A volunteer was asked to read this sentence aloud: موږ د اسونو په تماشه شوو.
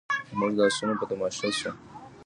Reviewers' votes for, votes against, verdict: 0, 2, rejected